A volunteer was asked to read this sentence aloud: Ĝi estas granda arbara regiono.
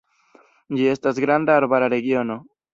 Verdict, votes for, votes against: rejected, 0, 2